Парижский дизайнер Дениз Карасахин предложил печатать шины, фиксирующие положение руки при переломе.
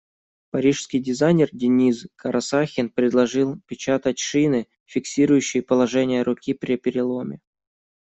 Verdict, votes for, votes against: accepted, 2, 0